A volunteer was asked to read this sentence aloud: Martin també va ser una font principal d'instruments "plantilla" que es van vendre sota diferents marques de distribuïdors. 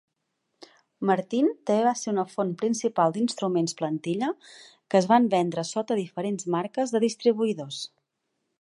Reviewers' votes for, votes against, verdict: 0, 2, rejected